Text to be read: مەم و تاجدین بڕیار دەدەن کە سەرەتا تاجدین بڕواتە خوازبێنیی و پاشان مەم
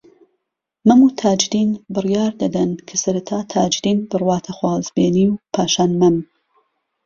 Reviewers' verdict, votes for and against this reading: accepted, 2, 0